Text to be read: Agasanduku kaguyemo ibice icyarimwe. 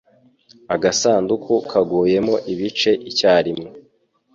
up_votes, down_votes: 2, 0